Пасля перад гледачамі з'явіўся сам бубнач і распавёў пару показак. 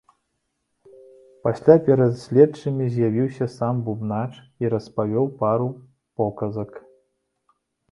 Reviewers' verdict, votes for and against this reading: rejected, 0, 2